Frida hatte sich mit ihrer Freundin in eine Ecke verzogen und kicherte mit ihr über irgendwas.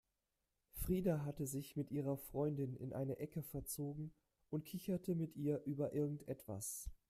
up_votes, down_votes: 0, 2